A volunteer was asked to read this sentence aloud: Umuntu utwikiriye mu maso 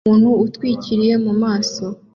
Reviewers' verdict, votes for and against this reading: accepted, 2, 0